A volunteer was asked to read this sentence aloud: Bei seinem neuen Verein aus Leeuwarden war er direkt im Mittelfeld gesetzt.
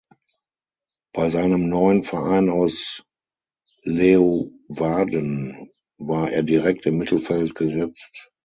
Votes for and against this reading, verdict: 3, 6, rejected